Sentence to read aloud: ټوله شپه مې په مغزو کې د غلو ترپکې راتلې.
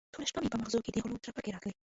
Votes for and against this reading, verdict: 1, 2, rejected